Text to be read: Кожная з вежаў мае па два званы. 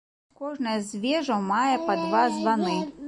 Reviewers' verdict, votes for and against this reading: accepted, 2, 0